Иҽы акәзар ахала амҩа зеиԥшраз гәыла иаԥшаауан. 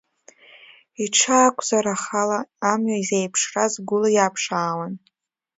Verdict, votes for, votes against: rejected, 0, 2